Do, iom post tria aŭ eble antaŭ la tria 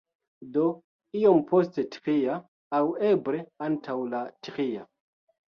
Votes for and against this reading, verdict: 2, 1, accepted